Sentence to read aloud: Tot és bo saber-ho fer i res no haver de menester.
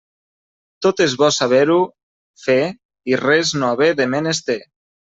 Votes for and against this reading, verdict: 0, 2, rejected